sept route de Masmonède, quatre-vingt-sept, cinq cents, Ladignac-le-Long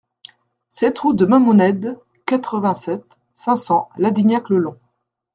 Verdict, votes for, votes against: rejected, 1, 2